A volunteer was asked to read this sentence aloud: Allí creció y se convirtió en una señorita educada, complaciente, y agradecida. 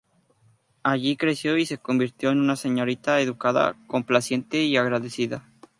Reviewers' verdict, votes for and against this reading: accepted, 2, 0